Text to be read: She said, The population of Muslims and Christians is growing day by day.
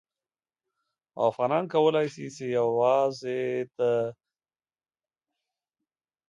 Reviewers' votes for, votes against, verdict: 0, 2, rejected